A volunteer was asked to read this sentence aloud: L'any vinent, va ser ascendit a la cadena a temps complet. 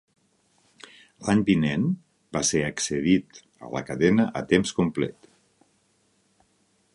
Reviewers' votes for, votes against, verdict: 1, 3, rejected